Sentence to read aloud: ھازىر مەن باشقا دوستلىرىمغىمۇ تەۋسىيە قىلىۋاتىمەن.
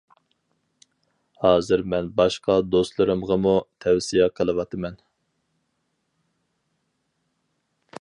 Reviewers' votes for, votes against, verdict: 2, 0, accepted